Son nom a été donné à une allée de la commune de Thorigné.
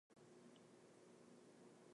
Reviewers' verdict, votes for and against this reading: rejected, 0, 2